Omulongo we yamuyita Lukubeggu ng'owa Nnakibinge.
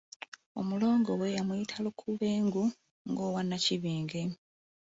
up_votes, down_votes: 0, 2